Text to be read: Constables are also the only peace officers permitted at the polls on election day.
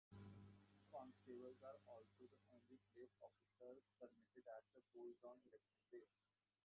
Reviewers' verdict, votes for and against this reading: rejected, 0, 2